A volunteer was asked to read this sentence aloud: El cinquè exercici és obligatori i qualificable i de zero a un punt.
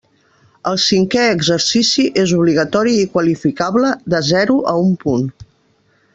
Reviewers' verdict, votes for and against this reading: rejected, 1, 2